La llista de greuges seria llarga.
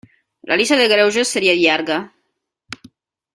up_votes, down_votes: 0, 2